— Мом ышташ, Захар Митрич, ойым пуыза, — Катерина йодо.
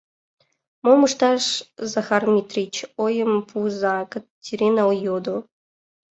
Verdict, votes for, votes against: accepted, 3, 2